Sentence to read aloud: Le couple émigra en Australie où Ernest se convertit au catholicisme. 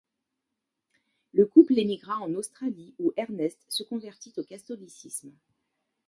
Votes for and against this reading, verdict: 2, 0, accepted